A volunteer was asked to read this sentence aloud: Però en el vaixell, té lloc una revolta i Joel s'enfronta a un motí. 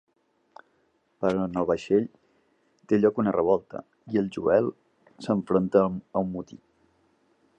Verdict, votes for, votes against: rejected, 0, 2